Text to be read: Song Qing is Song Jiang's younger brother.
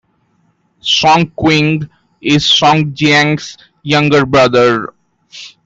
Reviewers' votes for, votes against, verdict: 2, 0, accepted